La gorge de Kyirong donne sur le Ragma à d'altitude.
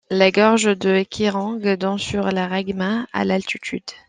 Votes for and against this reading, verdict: 1, 2, rejected